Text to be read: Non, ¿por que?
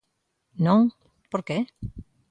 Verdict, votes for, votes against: accepted, 2, 0